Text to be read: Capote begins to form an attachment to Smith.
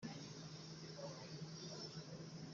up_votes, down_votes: 0, 2